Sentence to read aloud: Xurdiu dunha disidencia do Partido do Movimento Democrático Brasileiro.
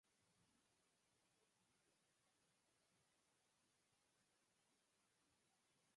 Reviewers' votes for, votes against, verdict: 0, 4, rejected